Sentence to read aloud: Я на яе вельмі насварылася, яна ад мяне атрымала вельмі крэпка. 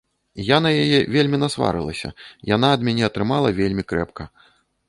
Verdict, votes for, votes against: rejected, 1, 2